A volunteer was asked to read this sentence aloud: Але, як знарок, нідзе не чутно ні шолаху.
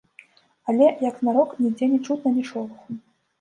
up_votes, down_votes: 0, 2